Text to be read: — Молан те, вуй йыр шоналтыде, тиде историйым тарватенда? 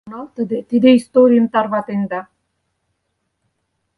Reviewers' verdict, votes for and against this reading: rejected, 0, 4